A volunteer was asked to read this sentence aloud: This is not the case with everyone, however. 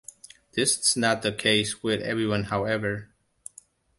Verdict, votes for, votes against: accepted, 2, 0